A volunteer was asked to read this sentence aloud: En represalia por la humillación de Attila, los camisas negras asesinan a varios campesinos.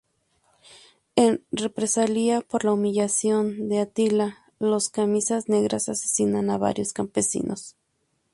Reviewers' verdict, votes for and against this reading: accepted, 2, 0